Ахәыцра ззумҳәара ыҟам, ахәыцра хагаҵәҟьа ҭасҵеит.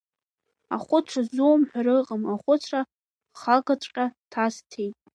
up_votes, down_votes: 2, 1